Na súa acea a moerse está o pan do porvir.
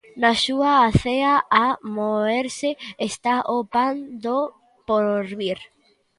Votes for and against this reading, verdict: 2, 0, accepted